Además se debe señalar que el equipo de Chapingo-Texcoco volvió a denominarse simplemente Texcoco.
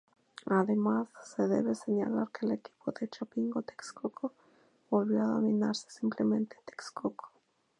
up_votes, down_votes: 0, 4